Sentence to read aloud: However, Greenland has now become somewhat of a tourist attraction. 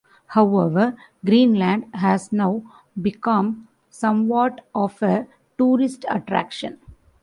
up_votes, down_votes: 2, 0